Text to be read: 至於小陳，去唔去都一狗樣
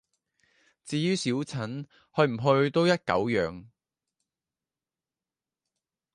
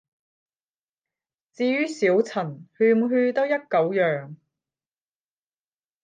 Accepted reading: first